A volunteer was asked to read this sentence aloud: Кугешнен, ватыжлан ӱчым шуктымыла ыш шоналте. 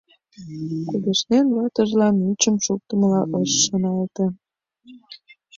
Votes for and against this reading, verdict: 2, 1, accepted